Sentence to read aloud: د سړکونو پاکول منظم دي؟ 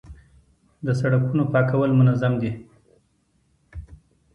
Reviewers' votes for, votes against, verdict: 2, 1, accepted